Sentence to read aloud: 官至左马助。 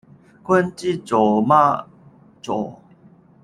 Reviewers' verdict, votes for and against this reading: rejected, 0, 2